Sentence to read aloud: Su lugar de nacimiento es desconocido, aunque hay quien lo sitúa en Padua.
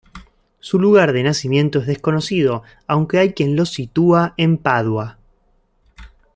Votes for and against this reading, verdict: 2, 0, accepted